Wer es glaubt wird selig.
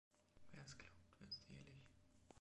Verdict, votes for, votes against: rejected, 1, 3